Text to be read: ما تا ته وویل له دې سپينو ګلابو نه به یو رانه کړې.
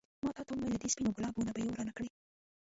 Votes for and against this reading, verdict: 1, 2, rejected